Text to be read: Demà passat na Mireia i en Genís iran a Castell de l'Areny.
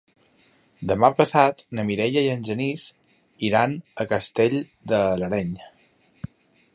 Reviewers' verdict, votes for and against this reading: accepted, 3, 2